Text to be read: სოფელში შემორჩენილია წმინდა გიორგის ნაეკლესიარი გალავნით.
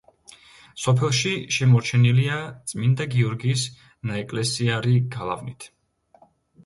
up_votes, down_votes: 2, 0